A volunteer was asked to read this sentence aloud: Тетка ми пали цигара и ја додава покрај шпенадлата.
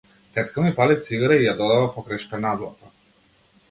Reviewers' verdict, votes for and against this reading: accepted, 2, 0